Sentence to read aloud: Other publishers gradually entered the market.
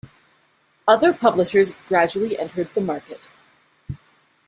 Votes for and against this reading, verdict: 2, 0, accepted